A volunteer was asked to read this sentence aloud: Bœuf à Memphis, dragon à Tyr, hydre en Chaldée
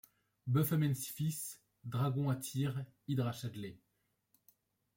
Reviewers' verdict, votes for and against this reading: rejected, 0, 2